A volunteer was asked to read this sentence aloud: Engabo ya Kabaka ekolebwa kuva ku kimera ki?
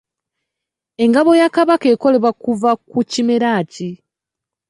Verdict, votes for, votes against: rejected, 1, 2